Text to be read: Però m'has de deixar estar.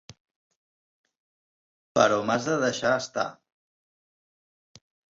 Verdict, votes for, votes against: accepted, 4, 0